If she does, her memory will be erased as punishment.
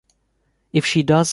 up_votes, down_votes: 0, 2